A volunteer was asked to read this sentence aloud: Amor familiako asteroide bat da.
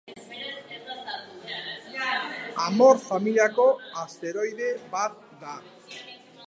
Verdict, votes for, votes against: rejected, 1, 2